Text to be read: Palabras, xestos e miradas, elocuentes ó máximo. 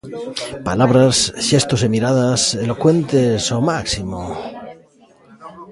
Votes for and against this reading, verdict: 1, 2, rejected